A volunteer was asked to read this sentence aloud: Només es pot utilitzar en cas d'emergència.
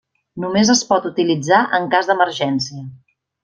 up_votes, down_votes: 3, 0